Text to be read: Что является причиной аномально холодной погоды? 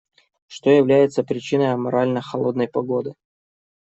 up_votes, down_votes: 0, 2